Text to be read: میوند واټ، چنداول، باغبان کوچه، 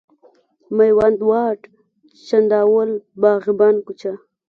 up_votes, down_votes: 2, 0